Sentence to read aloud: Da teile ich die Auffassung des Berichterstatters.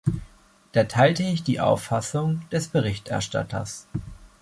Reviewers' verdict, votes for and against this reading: rejected, 0, 2